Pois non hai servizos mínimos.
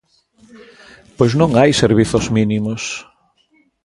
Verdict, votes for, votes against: rejected, 1, 2